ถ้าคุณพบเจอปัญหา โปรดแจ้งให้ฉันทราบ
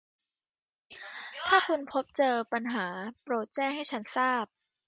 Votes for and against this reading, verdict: 0, 2, rejected